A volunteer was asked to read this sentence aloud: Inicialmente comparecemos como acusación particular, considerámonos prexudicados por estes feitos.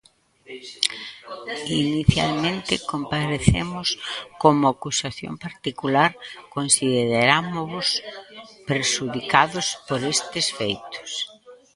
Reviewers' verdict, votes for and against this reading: rejected, 0, 2